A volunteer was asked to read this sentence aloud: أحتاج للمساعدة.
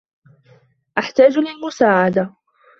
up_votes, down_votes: 2, 1